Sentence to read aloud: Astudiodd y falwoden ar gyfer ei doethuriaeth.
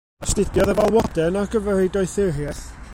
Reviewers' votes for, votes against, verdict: 0, 2, rejected